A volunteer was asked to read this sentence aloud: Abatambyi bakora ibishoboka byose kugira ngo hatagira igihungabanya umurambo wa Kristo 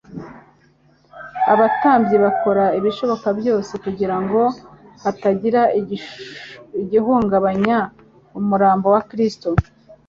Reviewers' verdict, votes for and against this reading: rejected, 1, 2